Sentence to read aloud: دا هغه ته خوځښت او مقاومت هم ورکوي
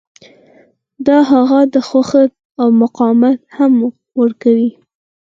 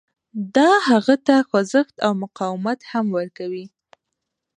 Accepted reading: first